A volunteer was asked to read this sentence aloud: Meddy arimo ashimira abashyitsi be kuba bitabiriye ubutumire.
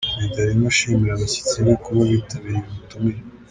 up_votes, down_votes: 2, 0